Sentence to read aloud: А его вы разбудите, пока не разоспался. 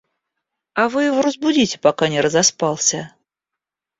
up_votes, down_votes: 0, 2